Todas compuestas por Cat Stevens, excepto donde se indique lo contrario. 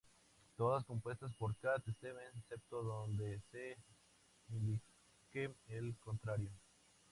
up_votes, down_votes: 0, 2